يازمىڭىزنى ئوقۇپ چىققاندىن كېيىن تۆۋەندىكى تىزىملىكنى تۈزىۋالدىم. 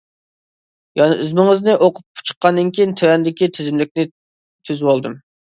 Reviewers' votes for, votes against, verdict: 0, 2, rejected